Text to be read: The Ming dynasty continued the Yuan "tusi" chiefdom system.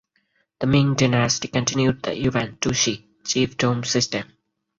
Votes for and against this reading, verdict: 2, 4, rejected